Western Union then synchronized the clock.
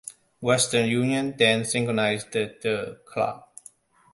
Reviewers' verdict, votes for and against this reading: rejected, 0, 2